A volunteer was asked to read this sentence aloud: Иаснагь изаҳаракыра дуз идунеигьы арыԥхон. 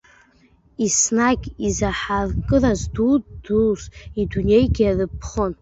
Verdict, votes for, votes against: rejected, 0, 2